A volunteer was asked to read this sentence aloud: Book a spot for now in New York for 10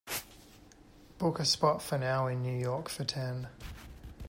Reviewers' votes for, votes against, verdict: 0, 2, rejected